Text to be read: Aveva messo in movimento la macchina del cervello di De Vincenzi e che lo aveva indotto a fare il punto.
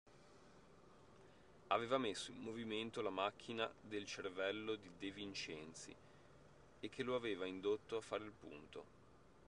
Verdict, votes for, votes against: accepted, 2, 0